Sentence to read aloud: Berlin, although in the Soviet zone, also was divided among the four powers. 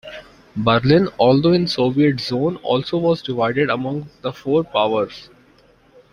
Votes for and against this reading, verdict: 0, 2, rejected